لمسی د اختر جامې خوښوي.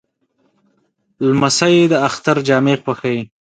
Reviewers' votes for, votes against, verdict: 3, 0, accepted